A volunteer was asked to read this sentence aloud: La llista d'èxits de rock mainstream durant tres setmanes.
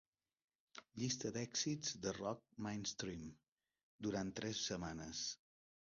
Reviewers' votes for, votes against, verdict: 2, 3, rejected